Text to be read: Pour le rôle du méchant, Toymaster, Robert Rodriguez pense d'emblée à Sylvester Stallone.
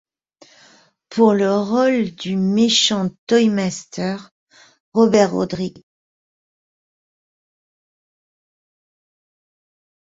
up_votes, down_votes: 0, 2